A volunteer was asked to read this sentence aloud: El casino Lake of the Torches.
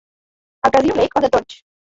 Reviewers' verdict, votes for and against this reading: rejected, 0, 2